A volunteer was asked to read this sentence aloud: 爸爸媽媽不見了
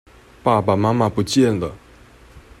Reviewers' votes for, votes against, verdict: 2, 0, accepted